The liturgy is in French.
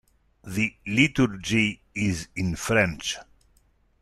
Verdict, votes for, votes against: accepted, 2, 0